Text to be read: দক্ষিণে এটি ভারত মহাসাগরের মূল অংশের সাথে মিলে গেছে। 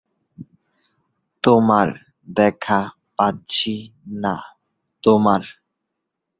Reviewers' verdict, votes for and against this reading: rejected, 0, 8